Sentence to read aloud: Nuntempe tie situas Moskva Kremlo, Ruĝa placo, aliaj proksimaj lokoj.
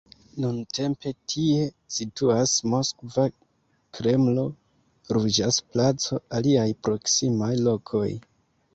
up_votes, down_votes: 2, 0